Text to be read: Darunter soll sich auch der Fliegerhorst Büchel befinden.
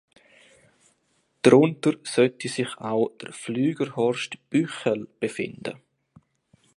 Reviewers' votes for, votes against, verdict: 0, 2, rejected